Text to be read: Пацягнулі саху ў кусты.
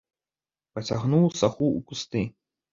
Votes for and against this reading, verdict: 0, 2, rejected